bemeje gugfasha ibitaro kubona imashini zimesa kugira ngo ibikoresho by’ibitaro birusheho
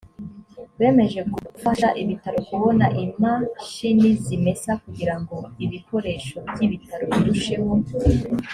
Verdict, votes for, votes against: accepted, 2, 0